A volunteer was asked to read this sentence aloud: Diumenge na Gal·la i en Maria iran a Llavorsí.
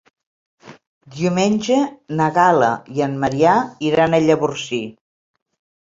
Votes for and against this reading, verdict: 0, 2, rejected